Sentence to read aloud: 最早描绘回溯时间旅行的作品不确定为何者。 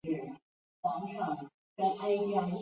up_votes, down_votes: 0, 3